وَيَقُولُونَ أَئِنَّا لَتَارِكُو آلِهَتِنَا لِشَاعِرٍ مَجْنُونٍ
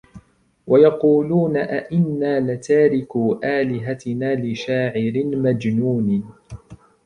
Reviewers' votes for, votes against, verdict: 2, 0, accepted